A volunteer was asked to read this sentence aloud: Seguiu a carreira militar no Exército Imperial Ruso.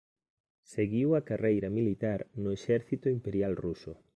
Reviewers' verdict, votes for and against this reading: accepted, 2, 0